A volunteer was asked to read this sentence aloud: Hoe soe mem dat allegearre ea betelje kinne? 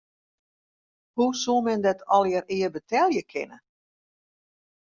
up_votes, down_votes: 1, 2